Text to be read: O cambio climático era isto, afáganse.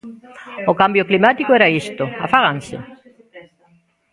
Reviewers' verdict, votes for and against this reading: rejected, 0, 2